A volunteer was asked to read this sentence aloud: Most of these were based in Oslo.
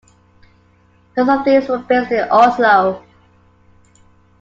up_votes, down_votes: 2, 0